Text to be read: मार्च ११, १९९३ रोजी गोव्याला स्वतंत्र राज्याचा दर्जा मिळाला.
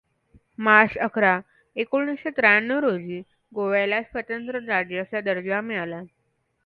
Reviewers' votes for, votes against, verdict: 0, 2, rejected